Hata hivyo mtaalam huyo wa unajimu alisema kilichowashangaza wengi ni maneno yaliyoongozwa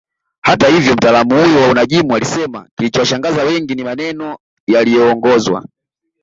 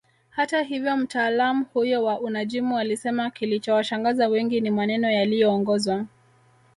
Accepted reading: first